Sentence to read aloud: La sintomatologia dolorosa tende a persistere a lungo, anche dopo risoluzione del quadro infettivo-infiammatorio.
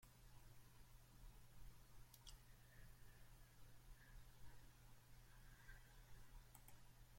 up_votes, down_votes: 0, 2